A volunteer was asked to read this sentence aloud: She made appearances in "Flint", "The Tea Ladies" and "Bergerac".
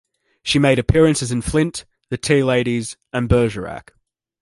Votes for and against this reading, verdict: 2, 0, accepted